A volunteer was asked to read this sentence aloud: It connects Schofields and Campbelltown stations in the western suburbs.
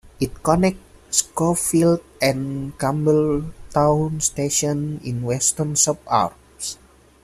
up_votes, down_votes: 0, 2